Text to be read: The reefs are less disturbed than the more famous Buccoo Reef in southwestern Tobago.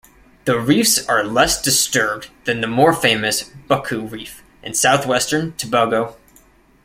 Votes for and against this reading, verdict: 0, 2, rejected